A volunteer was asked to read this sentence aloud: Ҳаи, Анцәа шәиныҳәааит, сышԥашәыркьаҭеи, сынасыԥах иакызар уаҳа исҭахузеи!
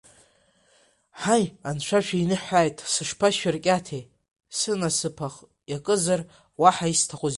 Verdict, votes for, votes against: accepted, 2, 1